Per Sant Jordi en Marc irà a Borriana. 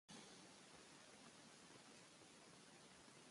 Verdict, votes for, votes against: rejected, 0, 2